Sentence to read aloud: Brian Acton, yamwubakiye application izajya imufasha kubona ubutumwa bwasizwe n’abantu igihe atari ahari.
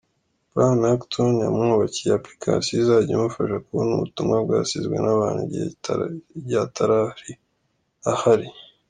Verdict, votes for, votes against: rejected, 1, 2